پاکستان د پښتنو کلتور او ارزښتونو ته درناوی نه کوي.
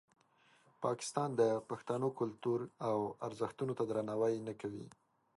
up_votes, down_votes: 2, 0